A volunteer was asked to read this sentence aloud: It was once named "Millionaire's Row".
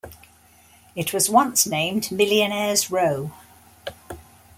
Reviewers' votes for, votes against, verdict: 2, 0, accepted